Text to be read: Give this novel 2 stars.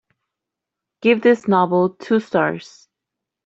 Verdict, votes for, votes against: rejected, 0, 2